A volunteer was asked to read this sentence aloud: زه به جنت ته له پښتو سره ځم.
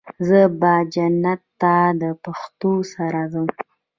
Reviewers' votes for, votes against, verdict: 0, 2, rejected